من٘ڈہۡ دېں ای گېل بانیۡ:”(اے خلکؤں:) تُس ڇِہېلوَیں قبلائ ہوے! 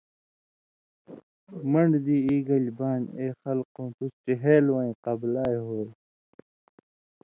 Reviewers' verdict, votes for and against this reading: accepted, 2, 0